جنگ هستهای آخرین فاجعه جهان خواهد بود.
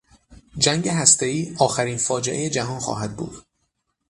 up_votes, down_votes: 3, 3